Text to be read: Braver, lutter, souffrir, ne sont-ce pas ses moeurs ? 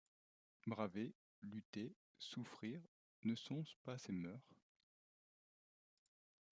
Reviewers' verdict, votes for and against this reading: rejected, 1, 2